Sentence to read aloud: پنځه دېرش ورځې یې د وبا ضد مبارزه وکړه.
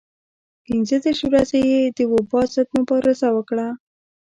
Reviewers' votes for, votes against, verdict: 1, 2, rejected